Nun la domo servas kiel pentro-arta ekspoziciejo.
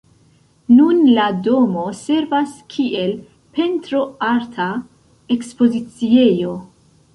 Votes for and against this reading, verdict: 1, 3, rejected